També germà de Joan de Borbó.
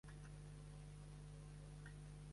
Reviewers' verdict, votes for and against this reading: rejected, 0, 2